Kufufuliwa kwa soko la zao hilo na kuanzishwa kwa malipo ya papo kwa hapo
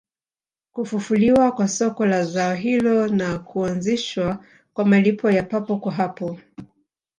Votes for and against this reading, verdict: 2, 1, accepted